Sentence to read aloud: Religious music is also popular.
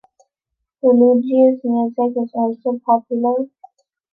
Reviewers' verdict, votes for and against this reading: accepted, 2, 0